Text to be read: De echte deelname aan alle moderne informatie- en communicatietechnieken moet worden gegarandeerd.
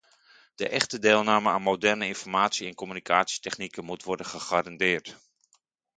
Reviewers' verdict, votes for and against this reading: rejected, 0, 2